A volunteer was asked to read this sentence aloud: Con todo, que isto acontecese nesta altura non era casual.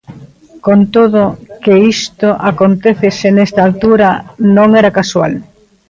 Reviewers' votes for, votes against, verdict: 0, 2, rejected